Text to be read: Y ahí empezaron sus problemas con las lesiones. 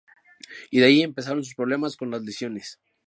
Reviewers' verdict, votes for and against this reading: accepted, 2, 0